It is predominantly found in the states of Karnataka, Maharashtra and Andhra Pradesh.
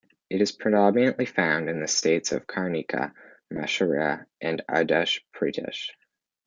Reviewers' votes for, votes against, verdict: 0, 2, rejected